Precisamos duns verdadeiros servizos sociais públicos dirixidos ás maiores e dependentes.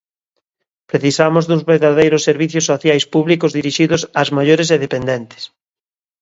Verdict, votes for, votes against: rejected, 1, 2